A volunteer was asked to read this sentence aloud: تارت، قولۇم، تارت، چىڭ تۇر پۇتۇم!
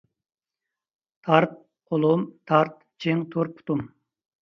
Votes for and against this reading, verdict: 2, 0, accepted